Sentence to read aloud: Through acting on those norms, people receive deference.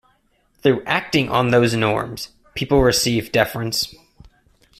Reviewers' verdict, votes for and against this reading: rejected, 1, 2